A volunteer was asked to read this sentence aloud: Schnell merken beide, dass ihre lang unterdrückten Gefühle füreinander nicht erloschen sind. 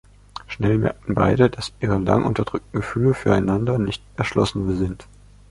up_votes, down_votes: 0, 2